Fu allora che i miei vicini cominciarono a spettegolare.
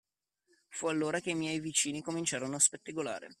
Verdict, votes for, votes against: accepted, 2, 1